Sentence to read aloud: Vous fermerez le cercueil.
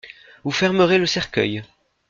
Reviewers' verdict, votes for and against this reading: accepted, 2, 0